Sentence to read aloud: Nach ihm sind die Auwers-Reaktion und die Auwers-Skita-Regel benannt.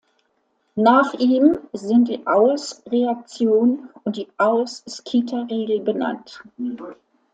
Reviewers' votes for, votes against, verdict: 1, 2, rejected